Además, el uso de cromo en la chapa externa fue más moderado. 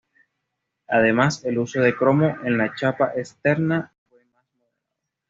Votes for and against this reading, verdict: 1, 2, rejected